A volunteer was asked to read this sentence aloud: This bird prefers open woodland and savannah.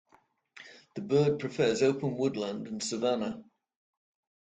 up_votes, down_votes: 1, 2